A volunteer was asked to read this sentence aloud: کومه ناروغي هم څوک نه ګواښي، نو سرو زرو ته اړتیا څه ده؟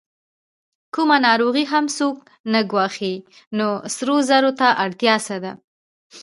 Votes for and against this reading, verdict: 1, 2, rejected